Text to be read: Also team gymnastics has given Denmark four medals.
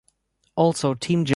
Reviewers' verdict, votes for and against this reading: rejected, 0, 2